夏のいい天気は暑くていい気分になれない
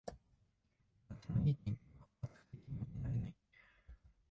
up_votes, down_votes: 0, 2